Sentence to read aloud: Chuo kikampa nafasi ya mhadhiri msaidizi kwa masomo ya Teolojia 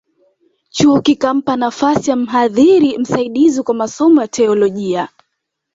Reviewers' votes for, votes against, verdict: 2, 0, accepted